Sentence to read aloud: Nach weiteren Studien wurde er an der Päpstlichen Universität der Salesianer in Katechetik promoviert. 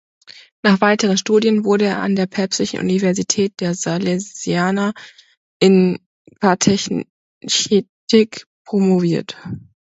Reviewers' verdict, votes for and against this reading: rejected, 0, 2